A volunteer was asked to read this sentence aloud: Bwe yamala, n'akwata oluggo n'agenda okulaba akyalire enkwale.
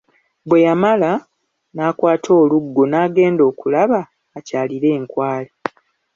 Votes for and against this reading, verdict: 2, 0, accepted